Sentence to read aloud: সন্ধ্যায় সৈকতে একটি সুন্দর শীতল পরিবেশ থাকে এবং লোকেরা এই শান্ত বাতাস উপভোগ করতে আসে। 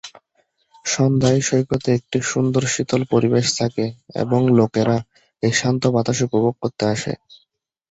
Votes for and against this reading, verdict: 2, 0, accepted